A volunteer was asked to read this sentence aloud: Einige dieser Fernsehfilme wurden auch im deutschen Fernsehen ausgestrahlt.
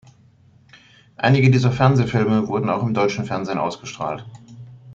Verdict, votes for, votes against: accepted, 2, 0